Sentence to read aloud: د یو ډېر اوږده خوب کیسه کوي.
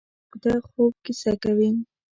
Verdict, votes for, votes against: rejected, 1, 2